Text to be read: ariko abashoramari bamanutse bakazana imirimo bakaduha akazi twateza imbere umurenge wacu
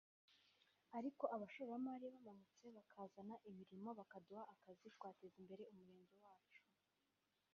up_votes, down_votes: 1, 2